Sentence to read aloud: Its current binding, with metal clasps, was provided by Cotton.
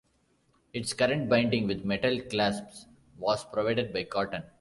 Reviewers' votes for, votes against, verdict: 3, 0, accepted